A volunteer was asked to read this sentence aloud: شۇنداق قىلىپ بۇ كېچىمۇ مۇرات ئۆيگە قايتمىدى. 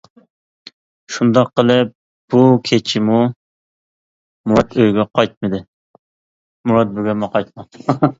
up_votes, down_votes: 0, 2